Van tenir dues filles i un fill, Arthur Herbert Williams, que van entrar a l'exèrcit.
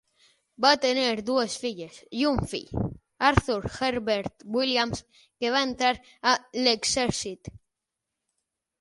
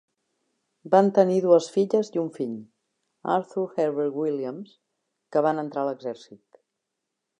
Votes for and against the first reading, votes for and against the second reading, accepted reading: 3, 6, 3, 1, second